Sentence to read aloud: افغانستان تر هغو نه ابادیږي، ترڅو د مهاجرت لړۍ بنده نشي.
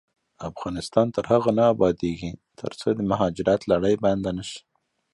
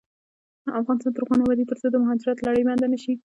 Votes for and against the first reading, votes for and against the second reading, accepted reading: 2, 1, 1, 2, first